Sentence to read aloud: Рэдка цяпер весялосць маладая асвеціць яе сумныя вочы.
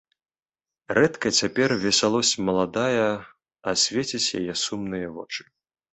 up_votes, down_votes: 2, 0